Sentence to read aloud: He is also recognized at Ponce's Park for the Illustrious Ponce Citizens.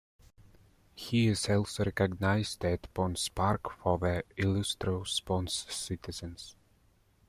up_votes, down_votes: 2, 0